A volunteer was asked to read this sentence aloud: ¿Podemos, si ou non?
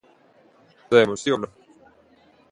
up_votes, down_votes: 0, 2